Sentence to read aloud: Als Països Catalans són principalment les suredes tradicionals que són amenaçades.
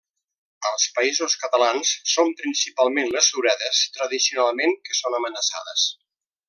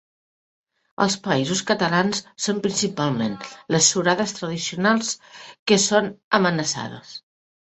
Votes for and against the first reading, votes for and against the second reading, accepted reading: 0, 2, 2, 1, second